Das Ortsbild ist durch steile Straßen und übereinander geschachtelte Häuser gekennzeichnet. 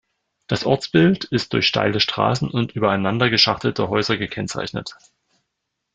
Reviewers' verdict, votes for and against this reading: accepted, 2, 0